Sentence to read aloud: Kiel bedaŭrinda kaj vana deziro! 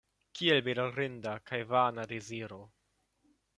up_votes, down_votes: 2, 0